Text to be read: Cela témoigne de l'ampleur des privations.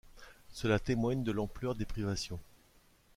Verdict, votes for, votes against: accepted, 2, 0